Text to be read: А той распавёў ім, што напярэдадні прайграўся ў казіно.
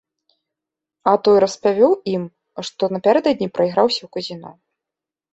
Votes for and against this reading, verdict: 2, 0, accepted